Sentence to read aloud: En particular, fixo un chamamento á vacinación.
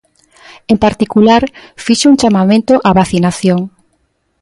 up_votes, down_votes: 2, 0